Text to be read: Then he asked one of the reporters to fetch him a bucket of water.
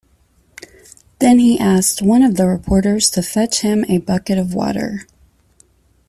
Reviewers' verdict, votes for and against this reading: accepted, 2, 0